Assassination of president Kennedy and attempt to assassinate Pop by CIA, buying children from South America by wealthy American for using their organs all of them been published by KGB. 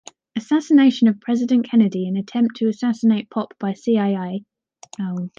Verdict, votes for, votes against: rejected, 1, 2